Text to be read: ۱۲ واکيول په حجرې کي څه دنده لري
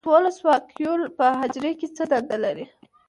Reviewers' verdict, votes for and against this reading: rejected, 0, 2